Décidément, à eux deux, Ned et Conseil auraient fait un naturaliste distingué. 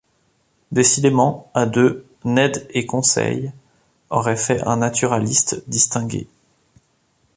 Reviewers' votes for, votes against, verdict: 1, 2, rejected